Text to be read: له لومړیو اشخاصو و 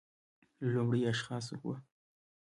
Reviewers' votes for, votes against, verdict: 2, 0, accepted